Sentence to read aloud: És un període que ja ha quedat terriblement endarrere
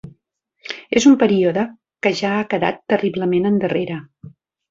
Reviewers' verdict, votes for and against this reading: accepted, 2, 0